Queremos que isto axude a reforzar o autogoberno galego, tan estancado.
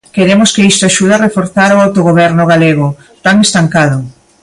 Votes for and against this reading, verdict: 3, 0, accepted